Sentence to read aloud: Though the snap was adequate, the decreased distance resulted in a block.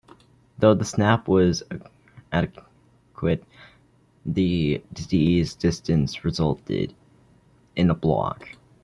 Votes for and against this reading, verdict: 0, 2, rejected